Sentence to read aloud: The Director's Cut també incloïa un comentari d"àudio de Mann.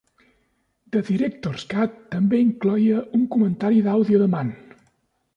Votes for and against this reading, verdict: 2, 0, accepted